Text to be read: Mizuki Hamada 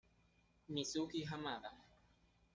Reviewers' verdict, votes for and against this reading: rejected, 1, 2